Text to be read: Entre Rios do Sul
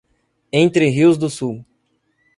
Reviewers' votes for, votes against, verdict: 2, 0, accepted